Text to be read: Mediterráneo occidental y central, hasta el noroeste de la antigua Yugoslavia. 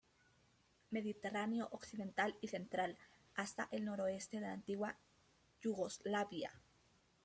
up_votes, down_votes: 1, 2